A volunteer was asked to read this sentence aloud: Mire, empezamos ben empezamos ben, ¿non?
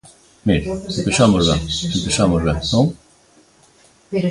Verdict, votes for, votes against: rejected, 0, 2